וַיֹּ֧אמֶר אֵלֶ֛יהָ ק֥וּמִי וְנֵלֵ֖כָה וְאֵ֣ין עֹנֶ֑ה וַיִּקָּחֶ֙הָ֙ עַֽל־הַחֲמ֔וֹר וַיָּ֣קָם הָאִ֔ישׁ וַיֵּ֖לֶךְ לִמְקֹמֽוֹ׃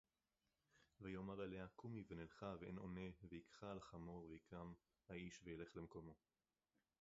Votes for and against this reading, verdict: 0, 2, rejected